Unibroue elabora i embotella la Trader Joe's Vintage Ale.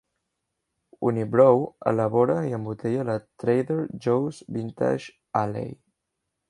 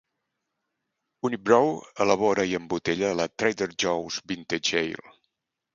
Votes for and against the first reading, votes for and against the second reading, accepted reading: 0, 2, 4, 0, second